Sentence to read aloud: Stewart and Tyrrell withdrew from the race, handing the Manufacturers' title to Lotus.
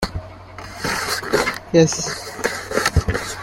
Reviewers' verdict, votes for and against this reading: rejected, 0, 2